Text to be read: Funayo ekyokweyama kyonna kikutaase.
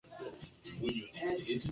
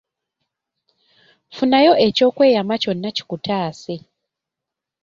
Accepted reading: second